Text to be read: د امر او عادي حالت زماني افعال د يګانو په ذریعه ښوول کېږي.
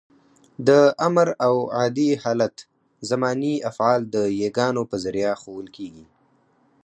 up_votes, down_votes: 4, 0